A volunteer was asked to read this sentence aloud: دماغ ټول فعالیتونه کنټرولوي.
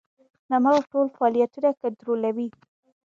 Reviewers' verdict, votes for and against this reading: rejected, 1, 2